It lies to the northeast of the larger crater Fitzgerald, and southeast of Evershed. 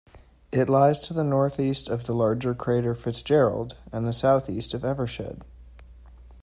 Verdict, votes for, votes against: accepted, 2, 1